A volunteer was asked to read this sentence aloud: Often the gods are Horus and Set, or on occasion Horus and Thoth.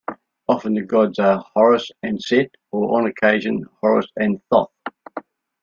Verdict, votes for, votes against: accepted, 2, 0